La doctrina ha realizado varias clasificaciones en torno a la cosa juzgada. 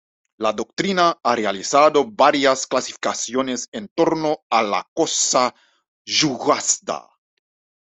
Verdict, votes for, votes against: rejected, 0, 2